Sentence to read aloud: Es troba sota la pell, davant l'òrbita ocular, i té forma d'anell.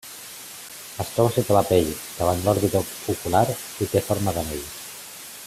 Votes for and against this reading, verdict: 2, 0, accepted